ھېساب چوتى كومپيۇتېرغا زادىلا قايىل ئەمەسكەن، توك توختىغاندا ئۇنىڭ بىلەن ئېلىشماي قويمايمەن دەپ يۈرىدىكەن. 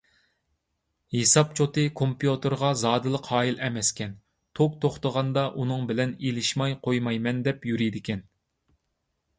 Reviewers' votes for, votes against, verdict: 2, 0, accepted